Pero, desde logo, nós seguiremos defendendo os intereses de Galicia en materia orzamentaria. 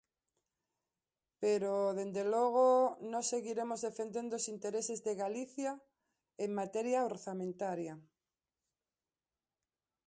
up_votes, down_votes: 0, 2